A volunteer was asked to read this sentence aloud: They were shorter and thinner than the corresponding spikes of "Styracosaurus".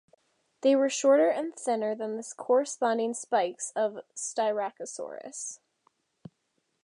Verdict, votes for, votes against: accepted, 2, 0